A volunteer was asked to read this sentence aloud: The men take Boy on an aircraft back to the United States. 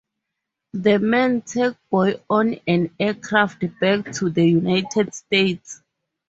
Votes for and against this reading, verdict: 4, 0, accepted